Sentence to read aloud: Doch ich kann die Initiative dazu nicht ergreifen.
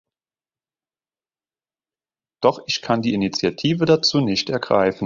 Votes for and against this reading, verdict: 3, 0, accepted